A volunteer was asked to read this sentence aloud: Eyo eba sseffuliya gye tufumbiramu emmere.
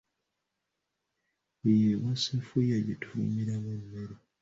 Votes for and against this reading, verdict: 1, 2, rejected